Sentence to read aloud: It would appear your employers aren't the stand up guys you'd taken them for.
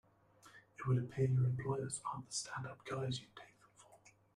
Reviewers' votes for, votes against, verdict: 0, 2, rejected